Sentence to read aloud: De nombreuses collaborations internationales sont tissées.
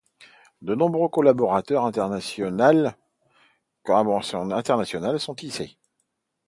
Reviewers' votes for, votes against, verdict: 0, 2, rejected